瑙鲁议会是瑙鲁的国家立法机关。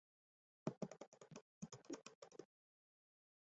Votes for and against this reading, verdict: 1, 2, rejected